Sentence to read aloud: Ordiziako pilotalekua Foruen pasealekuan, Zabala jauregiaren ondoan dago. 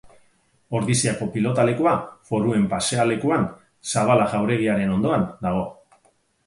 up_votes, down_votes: 4, 0